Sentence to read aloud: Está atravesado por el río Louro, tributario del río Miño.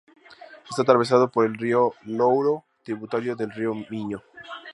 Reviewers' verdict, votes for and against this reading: accepted, 2, 0